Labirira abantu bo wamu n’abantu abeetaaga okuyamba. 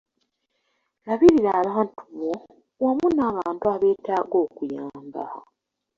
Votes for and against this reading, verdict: 2, 0, accepted